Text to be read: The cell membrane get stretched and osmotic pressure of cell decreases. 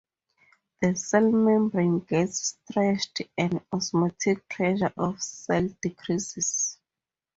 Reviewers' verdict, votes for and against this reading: rejected, 2, 2